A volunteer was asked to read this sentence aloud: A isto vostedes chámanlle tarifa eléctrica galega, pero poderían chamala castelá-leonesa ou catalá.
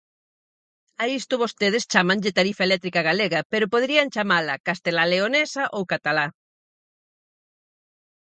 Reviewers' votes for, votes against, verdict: 4, 0, accepted